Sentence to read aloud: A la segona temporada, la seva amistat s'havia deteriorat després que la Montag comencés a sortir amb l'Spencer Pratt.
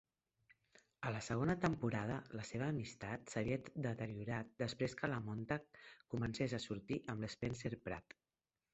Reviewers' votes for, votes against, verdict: 0, 2, rejected